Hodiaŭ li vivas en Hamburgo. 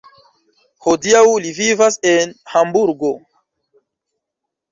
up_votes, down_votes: 0, 2